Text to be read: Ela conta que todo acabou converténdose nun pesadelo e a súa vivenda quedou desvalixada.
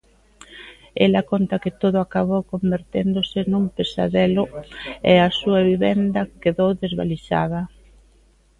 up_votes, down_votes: 2, 0